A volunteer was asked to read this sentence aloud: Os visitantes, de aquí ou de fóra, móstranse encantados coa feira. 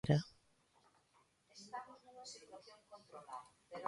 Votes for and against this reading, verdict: 0, 2, rejected